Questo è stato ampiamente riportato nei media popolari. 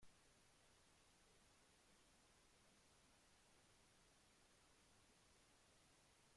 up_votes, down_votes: 0, 2